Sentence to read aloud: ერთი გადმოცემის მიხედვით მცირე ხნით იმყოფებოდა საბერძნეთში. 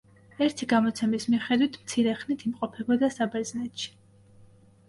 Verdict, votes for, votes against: accepted, 2, 0